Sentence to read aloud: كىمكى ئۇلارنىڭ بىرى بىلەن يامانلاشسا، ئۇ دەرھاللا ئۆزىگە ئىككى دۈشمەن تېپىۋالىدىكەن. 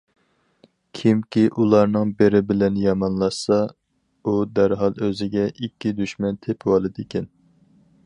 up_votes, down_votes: 0, 4